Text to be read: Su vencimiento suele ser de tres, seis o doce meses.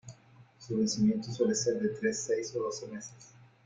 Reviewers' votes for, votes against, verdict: 2, 1, accepted